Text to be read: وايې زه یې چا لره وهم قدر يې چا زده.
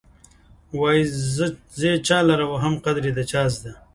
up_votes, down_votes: 2, 0